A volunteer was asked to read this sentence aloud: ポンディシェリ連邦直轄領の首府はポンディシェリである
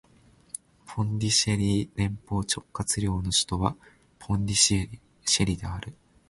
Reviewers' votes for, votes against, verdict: 0, 2, rejected